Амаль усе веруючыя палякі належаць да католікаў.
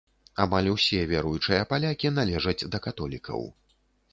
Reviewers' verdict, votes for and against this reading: accepted, 2, 0